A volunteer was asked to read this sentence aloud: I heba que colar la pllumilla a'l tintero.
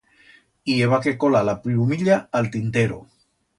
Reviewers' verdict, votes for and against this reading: accepted, 2, 0